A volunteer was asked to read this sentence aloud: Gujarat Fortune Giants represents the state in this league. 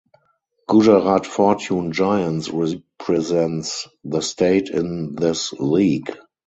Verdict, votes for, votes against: rejected, 2, 2